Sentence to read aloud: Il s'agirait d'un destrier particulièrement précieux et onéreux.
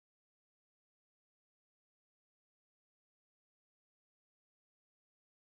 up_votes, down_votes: 1, 2